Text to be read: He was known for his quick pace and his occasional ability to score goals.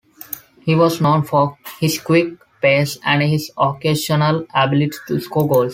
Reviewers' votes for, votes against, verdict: 2, 0, accepted